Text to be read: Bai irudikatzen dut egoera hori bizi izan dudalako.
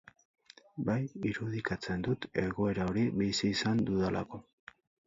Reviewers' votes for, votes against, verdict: 0, 4, rejected